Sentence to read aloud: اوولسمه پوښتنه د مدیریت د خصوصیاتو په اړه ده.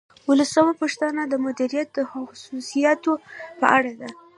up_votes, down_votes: 2, 1